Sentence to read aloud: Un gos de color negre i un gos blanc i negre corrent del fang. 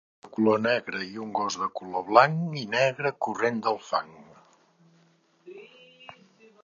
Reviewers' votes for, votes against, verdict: 0, 2, rejected